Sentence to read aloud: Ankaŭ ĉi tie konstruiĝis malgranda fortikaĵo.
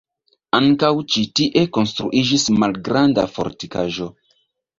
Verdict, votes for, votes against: rejected, 1, 2